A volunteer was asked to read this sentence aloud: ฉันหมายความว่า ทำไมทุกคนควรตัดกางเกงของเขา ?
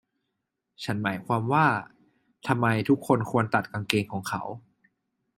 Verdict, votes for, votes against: accepted, 2, 0